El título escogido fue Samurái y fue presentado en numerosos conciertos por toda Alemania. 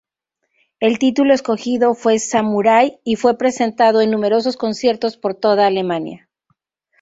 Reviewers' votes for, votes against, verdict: 4, 0, accepted